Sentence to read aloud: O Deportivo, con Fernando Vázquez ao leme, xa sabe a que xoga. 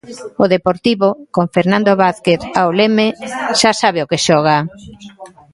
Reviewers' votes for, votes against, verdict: 2, 1, accepted